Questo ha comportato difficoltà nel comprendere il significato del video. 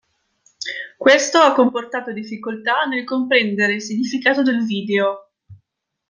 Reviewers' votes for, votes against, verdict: 2, 0, accepted